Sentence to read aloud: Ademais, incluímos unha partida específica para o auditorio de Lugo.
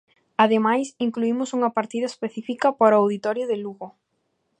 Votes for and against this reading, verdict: 2, 0, accepted